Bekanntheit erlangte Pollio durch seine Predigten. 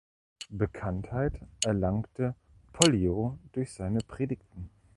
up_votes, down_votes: 1, 2